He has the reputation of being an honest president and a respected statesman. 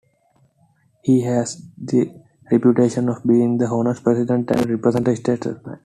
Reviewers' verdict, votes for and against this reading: rejected, 1, 2